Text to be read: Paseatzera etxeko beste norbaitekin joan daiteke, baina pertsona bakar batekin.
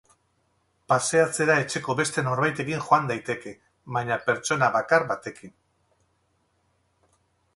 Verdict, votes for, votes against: accepted, 4, 0